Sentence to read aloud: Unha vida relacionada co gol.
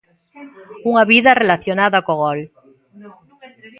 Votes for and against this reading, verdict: 0, 2, rejected